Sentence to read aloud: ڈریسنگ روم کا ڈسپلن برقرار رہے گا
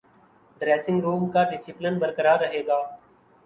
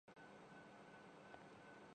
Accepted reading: first